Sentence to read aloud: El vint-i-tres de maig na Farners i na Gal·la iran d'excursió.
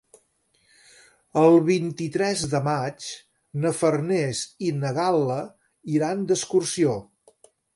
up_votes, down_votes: 3, 0